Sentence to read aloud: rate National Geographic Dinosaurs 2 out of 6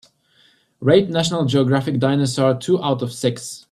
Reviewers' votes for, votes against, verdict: 0, 2, rejected